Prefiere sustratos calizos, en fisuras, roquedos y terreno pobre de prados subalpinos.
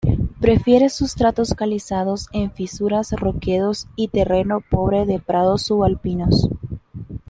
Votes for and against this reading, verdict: 0, 2, rejected